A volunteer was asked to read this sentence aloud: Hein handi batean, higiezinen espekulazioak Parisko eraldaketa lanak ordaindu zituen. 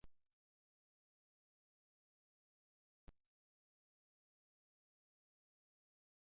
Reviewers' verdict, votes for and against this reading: rejected, 0, 2